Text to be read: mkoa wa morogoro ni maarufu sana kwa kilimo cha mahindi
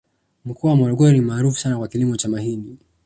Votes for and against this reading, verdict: 2, 0, accepted